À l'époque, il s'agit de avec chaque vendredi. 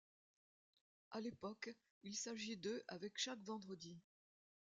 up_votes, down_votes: 2, 0